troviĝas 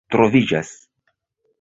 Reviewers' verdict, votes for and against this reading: rejected, 1, 2